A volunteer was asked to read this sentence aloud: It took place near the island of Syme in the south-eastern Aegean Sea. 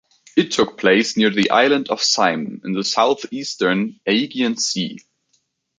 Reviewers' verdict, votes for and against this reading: accepted, 3, 0